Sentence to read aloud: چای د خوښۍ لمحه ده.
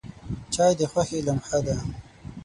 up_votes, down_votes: 0, 6